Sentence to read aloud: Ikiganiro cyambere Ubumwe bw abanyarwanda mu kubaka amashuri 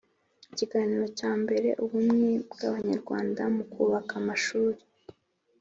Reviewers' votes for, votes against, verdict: 2, 0, accepted